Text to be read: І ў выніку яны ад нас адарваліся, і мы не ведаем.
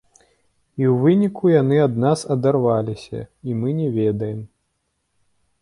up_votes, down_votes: 2, 0